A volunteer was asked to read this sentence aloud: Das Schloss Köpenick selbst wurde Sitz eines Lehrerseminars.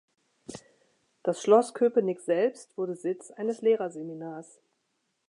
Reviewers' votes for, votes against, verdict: 4, 0, accepted